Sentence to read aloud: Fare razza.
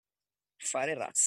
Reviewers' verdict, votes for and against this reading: rejected, 0, 2